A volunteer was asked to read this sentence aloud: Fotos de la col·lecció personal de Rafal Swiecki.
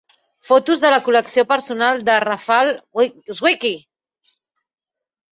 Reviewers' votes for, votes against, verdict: 0, 2, rejected